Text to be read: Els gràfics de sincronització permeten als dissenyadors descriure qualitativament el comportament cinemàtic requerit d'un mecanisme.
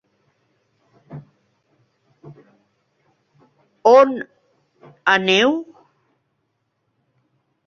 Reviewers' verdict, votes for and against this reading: rejected, 0, 2